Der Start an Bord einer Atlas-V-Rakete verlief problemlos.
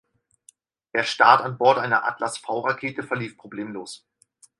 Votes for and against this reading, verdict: 4, 2, accepted